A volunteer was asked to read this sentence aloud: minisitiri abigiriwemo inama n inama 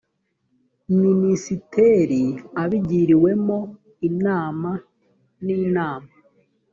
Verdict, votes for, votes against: rejected, 1, 2